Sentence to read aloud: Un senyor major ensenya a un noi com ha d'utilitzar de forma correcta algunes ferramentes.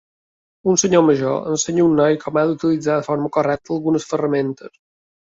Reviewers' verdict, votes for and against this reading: rejected, 0, 2